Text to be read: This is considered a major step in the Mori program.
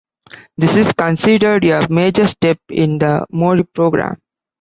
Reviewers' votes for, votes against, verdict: 2, 0, accepted